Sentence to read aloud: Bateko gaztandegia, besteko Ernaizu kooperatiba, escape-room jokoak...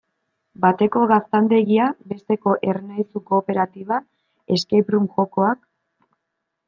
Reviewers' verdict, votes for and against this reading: accepted, 2, 0